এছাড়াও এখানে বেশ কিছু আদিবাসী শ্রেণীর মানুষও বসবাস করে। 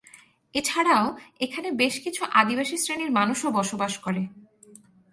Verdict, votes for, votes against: accepted, 4, 0